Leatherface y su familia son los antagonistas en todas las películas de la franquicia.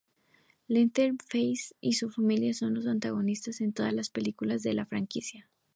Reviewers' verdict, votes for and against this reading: accepted, 6, 0